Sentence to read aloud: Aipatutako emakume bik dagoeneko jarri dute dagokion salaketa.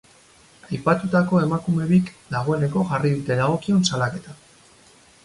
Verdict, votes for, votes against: rejected, 2, 2